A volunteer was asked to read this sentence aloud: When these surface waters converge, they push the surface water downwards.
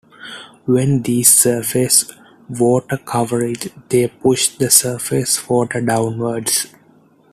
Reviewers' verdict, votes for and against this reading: rejected, 0, 2